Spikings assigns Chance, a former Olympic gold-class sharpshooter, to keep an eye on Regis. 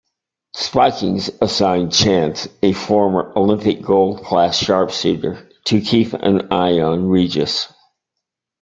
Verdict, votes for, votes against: rejected, 0, 2